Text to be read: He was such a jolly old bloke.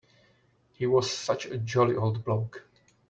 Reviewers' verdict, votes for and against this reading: accepted, 2, 0